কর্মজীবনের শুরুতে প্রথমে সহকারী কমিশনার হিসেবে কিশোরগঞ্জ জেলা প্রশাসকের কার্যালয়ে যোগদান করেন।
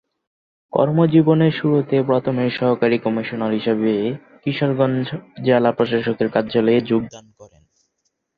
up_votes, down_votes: 0, 2